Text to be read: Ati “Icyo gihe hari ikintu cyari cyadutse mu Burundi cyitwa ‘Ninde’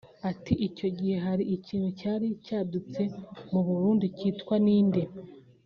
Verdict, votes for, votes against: accepted, 2, 0